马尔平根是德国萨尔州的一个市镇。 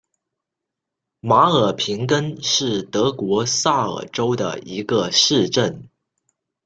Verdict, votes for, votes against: accepted, 2, 0